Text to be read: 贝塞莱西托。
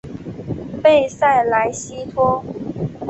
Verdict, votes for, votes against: accepted, 2, 0